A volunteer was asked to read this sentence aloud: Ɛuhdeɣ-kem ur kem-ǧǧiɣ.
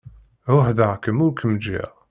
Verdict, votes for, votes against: accepted, 2, 0